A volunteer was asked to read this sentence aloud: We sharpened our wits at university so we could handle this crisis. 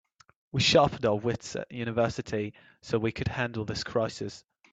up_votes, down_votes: 3, 0